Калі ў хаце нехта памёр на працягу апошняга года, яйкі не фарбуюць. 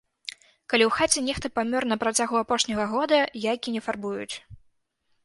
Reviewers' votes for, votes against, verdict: 2, 0, accepted